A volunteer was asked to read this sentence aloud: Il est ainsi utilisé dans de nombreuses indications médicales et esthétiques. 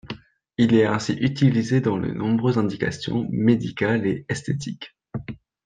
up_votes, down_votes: 2, 1